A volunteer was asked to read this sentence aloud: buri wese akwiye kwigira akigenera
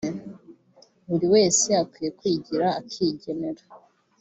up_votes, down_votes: 4, 0